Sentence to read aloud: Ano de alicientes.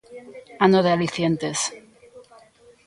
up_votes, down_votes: 1, 2